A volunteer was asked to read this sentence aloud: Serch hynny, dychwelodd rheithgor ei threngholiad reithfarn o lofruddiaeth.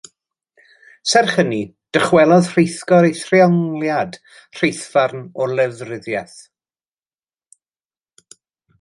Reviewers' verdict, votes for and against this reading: rejected, 1, 2